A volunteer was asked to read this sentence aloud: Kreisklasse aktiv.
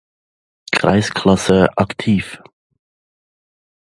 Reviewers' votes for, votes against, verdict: 2, 0, accepted